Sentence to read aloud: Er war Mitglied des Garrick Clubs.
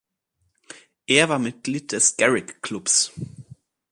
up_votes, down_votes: 2, 0